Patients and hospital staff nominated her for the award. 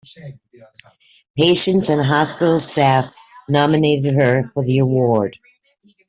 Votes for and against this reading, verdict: 2, 0, accepted